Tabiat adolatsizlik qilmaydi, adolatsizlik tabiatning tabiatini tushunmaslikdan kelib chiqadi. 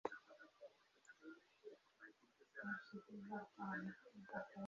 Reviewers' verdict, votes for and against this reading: rejected, 0, 2